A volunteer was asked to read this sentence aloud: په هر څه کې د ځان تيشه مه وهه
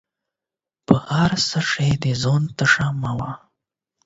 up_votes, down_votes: 4, 8